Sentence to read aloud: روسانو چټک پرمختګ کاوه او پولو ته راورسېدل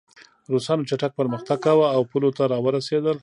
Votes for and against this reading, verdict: 2, 0, accepted